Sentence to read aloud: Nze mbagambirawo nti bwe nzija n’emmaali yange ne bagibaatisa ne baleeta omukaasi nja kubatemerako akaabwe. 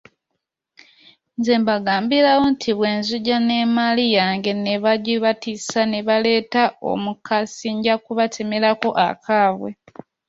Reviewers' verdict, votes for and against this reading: rejected, 1, 2